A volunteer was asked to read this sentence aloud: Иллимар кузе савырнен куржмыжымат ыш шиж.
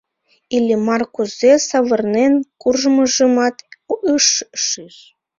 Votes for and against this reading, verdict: 0, 2, rejected